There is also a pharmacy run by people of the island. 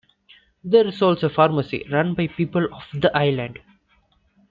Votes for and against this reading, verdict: 2, 0, accepted